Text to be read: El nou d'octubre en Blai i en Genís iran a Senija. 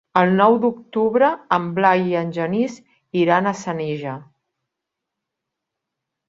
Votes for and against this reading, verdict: 5, 0, accepted